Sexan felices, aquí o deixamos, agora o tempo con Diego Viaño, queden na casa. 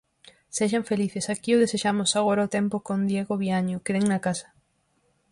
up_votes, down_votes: 0, 4